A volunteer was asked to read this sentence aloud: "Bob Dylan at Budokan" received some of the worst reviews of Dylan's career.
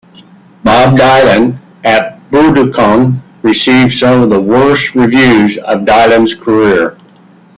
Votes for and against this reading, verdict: 0, 2, rejected